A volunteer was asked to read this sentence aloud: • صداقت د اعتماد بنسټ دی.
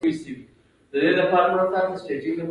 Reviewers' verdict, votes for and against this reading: rejected, 1, 2